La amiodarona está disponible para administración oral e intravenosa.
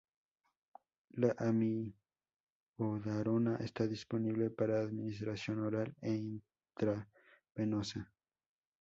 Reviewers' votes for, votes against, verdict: 0, 4, rejected